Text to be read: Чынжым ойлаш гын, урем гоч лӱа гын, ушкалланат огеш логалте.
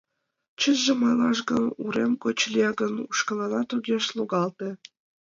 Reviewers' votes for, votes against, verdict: 2, 0, accepted